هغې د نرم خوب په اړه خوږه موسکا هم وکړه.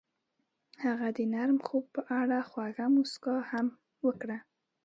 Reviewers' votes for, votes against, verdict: 2, 0, accepted